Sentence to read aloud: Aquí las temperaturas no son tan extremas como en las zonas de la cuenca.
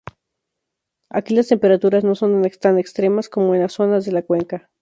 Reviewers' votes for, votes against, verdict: 0, 2, rejected